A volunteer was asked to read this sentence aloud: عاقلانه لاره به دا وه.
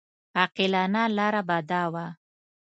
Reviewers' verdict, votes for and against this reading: accepted, 2, 0